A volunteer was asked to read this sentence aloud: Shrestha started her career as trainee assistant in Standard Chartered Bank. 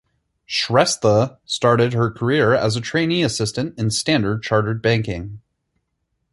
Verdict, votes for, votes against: rejected, 2, 4